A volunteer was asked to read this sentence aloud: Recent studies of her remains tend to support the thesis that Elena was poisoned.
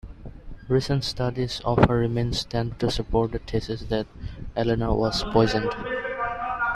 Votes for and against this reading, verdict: 1, 2, rejected